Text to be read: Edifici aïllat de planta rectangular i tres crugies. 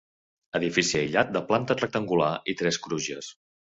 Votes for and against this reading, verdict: 0, 2, rejected